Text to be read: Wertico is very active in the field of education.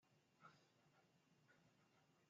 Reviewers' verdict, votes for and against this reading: rejected, 0, 2